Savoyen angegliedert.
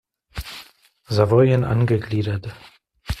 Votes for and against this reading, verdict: 2, 0, accepted